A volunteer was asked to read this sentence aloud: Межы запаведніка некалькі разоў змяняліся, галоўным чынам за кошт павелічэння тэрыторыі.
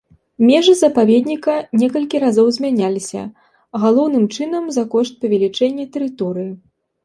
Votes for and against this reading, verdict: 2, 0, accepted